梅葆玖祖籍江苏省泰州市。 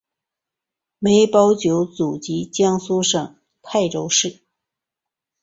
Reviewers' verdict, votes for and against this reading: accepted, 3, 0